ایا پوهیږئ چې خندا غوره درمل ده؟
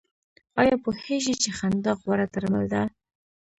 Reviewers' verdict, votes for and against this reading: rejected, 1, 2